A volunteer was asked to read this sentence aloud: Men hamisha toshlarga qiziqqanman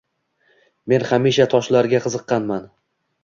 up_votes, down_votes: 2, 0